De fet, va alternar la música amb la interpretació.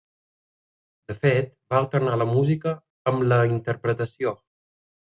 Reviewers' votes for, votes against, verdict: 3, 0, accepted